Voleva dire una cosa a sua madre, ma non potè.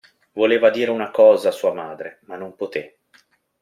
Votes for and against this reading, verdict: 2, 0, accepted